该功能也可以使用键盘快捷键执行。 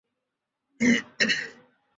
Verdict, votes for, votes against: rejected, 1, 5